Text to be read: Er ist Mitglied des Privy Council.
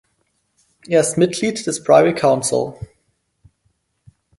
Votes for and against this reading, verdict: 4, 0, accepted